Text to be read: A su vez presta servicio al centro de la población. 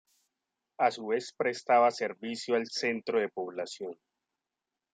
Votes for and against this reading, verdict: 1, 2, rejected